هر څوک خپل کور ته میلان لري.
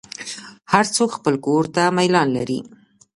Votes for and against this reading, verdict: 1, 2, rejected